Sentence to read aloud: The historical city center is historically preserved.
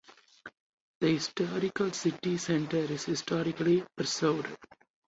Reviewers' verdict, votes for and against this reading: accepted, 4, 0